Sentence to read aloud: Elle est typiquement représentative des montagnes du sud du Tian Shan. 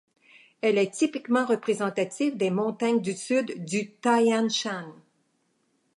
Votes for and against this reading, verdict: 2, 0, accepted